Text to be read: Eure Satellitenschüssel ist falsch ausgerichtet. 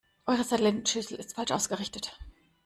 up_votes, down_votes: 1, 2